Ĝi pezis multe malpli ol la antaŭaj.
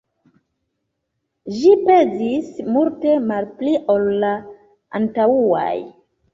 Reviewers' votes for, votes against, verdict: 2, 0, accepted